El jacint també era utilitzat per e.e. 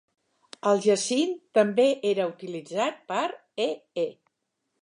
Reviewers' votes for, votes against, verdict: 3, 0, accepted